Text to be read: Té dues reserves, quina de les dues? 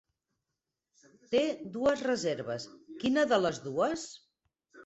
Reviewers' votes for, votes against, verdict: 6, 0, accepted